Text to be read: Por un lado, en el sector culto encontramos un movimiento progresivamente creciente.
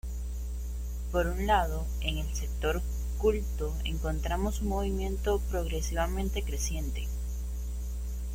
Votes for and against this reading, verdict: 2, 0, accepted